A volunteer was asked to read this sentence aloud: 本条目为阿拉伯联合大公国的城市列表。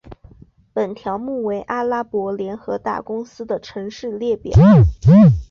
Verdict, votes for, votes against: rejected, 0, 2